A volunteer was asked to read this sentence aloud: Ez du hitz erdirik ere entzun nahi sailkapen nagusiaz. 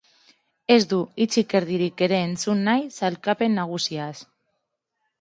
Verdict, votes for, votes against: rejected, 0, 2